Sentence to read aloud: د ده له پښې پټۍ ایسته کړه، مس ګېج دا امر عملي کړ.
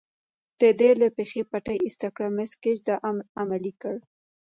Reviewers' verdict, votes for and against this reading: accepted, 2, 0